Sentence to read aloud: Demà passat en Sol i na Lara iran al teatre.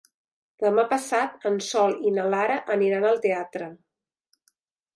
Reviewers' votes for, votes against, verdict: 0, 2, rejected